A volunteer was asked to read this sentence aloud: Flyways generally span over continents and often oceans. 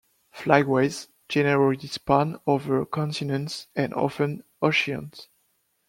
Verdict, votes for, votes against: rejected, 1, 2